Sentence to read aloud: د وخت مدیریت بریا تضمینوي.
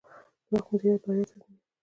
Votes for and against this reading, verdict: 1, 2, rejected